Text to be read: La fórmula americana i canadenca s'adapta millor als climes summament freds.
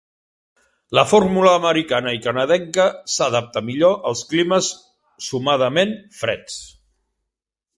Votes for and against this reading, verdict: 0, 2, rejected